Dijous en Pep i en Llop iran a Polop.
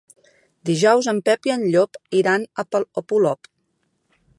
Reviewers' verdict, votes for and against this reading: rejected, 0, 2